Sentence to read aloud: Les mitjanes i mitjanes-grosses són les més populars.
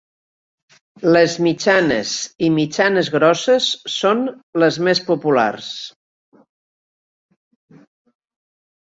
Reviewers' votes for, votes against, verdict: 2, 0, accepted